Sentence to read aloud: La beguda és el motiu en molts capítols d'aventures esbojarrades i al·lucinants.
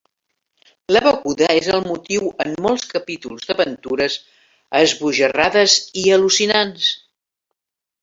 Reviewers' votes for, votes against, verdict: 1, 2, rejected